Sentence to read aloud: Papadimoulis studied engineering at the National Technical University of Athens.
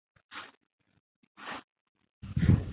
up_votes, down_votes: 0, 2